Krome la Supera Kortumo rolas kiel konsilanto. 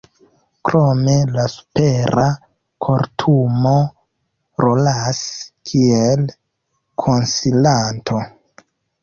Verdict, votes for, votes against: accepted, 2, 1